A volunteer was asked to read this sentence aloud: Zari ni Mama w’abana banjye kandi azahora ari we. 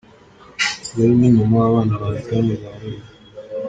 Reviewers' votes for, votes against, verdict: 1, 2, rejected